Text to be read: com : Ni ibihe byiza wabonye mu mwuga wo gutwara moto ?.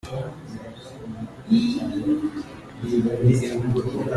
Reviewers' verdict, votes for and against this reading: rejected, 0, 2